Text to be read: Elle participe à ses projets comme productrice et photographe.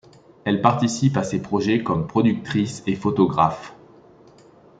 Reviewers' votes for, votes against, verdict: 2, 0, accepted